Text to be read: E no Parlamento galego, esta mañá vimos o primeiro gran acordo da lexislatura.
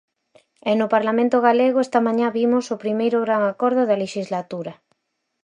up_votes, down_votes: 4, 0